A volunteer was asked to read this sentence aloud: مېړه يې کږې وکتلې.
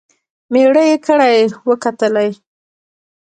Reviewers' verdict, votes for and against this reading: rejected, 0, 2